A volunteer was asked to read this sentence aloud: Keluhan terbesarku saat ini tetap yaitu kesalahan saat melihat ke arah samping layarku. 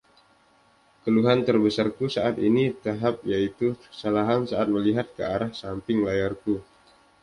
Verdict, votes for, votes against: rejected, 1, 2